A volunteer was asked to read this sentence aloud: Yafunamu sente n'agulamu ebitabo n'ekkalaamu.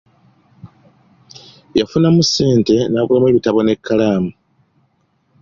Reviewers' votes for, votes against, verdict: 2, 0, accepted